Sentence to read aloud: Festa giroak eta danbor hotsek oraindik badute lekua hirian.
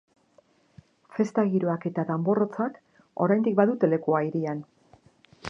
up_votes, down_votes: 2, 0